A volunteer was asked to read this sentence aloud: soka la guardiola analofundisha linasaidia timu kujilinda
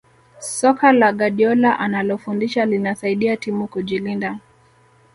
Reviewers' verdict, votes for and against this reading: accepted, 2, 0